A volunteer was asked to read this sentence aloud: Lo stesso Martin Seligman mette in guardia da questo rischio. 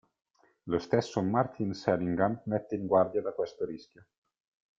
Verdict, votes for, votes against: rejected, 0, 2